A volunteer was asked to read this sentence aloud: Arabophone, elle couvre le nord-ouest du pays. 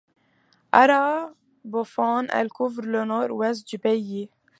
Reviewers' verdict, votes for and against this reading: accepted, 2, 0